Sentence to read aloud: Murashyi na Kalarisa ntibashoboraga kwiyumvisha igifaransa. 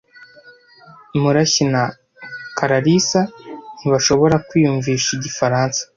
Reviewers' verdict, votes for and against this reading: rejected, 1, 2